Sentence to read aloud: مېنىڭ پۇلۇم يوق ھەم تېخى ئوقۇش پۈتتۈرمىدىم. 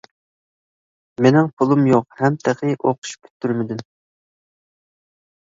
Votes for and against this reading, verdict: 2, 0, accepted